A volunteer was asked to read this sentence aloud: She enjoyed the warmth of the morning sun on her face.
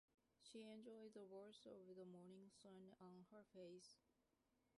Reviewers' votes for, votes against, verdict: 1, 3, rejected